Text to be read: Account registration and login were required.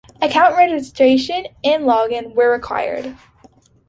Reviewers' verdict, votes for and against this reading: accepted, 2, 0